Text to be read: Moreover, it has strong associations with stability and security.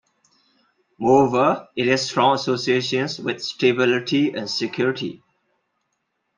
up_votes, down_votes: 2, 0